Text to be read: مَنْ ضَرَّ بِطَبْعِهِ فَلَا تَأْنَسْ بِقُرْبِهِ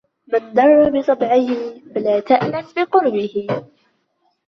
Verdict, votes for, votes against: rejected, 0, 2